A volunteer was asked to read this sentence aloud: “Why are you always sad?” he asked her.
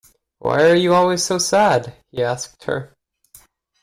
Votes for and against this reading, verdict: 0, 2, rejected